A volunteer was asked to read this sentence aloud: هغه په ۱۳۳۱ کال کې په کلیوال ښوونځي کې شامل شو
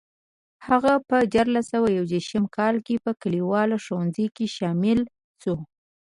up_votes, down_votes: 0, 2